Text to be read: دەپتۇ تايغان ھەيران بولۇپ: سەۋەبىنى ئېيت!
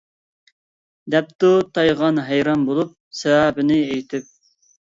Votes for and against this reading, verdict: 0, 2, rejected